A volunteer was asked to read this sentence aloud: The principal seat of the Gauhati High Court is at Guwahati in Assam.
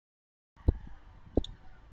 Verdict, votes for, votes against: rejected, 0, 2